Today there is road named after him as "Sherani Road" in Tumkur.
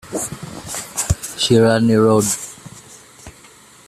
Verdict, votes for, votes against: rejected, 0, 2